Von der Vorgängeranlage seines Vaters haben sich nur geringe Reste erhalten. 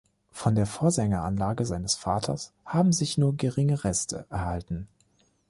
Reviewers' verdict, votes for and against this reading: rejected, 0, 2